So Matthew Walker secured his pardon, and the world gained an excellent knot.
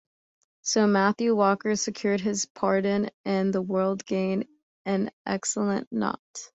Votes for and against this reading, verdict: 2, 0, accepted